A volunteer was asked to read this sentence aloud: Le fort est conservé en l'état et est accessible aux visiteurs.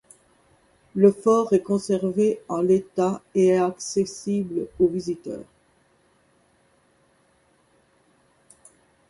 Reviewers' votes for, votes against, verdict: 2, 0, accepted